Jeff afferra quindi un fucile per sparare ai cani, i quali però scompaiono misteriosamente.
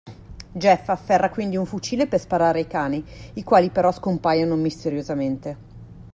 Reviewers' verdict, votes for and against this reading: accepted, 2, 0